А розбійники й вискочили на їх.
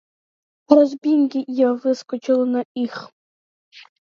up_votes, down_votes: 0, 2